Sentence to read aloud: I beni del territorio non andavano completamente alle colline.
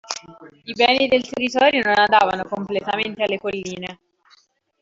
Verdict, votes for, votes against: rejected, 1, 3